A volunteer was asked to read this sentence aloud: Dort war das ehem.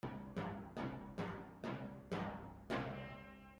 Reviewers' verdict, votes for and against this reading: rejected, 0, 2